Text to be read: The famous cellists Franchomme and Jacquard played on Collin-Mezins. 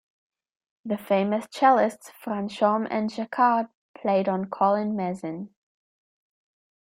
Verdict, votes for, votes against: accepted, 2, 0